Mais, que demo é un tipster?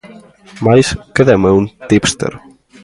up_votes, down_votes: 2, 0